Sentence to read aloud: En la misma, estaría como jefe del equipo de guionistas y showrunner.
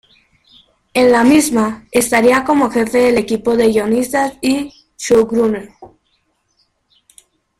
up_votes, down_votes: 1, 2